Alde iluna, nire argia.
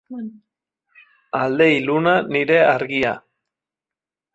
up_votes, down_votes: 1, 2